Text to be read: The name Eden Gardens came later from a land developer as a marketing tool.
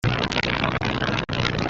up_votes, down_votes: 0, 2